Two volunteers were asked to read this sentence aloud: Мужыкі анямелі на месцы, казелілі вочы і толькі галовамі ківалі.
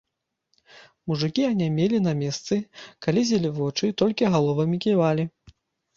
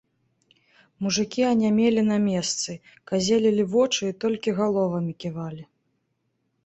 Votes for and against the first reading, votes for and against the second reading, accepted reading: 1, 2, 2, 0, second